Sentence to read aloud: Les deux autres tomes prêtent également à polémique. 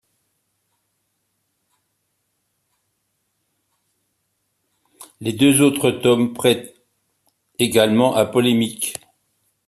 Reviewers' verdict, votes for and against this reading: accepted, 2, 0